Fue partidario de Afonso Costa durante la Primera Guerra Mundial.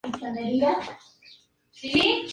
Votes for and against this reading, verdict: 0, 4, rejected